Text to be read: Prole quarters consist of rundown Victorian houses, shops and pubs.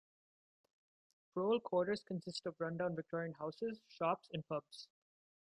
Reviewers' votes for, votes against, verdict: 2, 0, accepted